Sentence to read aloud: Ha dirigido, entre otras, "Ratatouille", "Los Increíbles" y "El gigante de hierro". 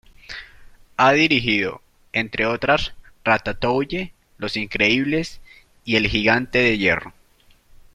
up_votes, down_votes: 0, 2